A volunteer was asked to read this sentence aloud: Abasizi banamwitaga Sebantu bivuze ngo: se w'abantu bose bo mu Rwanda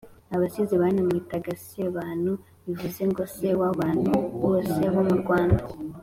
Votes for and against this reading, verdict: 2, 0, accepted